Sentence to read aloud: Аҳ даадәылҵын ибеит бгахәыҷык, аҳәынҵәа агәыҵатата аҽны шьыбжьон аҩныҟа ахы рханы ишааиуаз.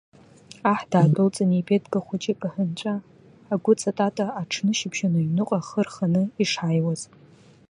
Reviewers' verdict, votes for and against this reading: rejected, 0, 2